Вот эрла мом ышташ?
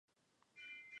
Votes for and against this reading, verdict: 0, 2, rejected